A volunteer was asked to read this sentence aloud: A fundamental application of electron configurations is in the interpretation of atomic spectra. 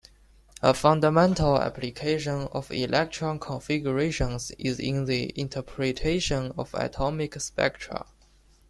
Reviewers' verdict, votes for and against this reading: accepted, 2, 1